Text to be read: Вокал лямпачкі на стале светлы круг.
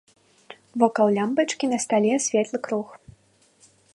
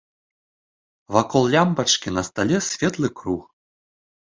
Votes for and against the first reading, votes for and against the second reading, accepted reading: 2, 0, 1, 2, first